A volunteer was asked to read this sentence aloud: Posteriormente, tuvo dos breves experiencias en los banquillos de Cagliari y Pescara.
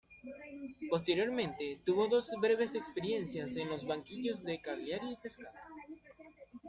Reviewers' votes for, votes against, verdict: 2, 0, accepted